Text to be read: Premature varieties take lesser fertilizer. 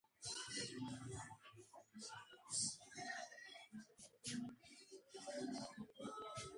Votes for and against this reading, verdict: 0, 2, rejected